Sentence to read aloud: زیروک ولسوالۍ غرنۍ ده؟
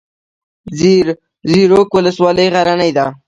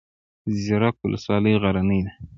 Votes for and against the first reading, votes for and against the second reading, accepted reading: 2, 0, 0, 2, first